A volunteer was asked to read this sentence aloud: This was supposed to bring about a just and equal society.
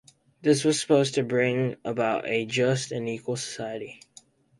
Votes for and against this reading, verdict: 4, 0, accepted